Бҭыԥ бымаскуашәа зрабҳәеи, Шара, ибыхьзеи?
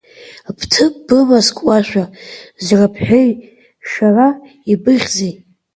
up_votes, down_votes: 1, 2